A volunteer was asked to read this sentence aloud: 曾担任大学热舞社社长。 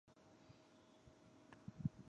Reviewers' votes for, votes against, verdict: 0, 3, rejected